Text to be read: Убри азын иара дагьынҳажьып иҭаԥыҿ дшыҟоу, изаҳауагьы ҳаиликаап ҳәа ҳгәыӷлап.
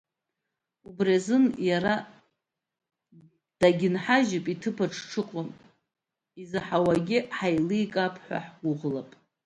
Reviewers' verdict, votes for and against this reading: accepted, 2, 1